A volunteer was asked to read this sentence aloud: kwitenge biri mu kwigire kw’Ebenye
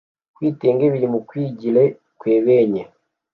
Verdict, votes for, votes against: rejected, 1, 2